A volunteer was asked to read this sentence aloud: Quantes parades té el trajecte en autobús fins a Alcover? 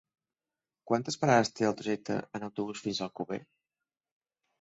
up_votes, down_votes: 4, 0